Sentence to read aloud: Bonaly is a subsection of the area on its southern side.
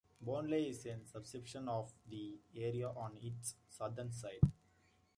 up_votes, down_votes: 1, 2